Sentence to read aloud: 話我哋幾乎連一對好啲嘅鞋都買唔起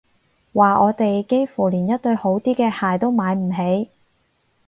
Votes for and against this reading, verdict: 4, 0, accepted